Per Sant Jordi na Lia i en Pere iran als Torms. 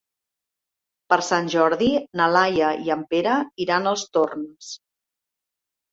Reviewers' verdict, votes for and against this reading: rejected, 1, 2